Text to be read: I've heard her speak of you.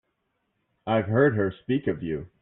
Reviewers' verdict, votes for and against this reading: rejected, 0, 2